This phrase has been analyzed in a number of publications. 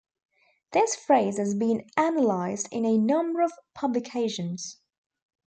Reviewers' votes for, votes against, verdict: 2, 0, accepted